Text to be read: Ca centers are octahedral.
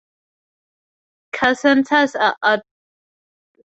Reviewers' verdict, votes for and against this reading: rejected, 0, 4